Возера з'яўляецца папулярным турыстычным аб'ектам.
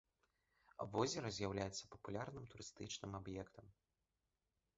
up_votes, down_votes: 2, 0